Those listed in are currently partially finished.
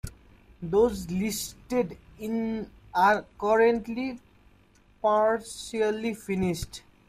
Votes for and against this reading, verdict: 2, 0, accepted